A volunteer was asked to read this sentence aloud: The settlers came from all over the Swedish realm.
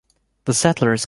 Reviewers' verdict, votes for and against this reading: rejected, 0, 2